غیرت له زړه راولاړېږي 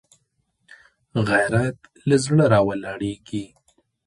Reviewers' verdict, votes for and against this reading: rejected, 1, 2